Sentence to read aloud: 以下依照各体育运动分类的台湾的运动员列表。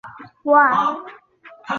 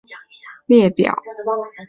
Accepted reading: second